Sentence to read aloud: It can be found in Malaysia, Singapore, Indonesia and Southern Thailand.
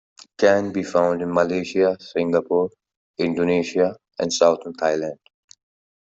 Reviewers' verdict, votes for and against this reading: accepted, 2, 0